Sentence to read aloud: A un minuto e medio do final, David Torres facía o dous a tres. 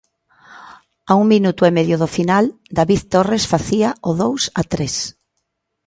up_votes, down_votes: 2, 0